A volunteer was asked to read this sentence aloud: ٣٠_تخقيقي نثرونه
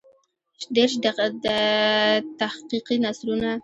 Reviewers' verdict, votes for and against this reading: rejected, 0, 2